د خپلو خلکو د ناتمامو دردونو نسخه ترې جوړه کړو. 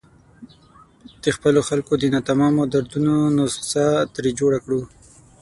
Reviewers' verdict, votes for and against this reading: accepted, 6, 0